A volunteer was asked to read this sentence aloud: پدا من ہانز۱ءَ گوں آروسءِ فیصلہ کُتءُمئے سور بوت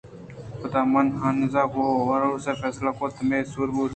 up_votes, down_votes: 0, 2